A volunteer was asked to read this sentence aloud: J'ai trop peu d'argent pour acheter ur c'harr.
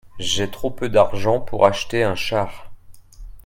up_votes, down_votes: 1, 2